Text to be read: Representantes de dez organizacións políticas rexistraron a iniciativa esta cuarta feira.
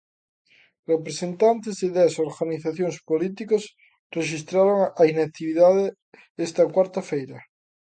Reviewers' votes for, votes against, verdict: 0, 2, rejected